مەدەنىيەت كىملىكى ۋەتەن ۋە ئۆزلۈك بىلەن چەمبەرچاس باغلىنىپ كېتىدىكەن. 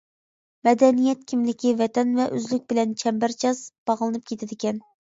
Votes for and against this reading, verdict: 2, 0, accepted